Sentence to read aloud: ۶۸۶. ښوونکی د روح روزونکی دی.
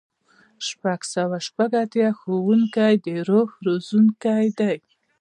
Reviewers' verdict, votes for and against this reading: rejected, 0, 2